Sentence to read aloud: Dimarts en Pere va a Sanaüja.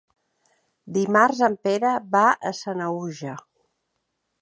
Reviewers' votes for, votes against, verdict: 2, 0, accepted